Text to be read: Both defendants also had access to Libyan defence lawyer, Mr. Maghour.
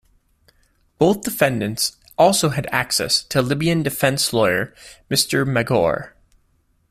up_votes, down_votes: 2, 0